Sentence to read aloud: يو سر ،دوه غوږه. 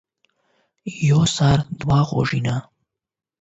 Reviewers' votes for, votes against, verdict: 0, 8, rejected